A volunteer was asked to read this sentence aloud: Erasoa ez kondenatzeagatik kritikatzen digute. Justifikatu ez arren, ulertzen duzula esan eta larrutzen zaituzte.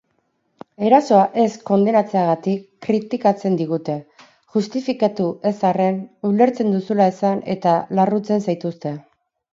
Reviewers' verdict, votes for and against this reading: accepted, 4, 0